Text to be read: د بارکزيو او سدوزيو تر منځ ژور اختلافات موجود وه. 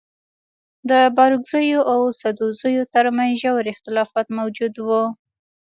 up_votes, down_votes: 0, 2